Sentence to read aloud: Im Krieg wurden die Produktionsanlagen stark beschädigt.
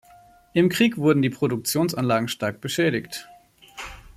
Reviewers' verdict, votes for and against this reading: accepted, 2, 0